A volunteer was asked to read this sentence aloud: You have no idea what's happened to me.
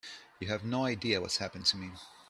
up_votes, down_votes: 2, 0